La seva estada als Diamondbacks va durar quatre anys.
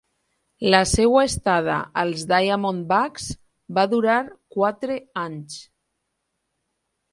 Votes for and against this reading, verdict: 2, 2, rejected